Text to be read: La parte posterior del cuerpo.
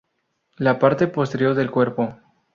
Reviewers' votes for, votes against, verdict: 2, 0, accepted